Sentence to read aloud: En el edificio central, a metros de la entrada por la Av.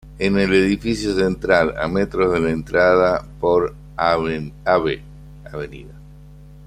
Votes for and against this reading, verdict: 0, 2, rejected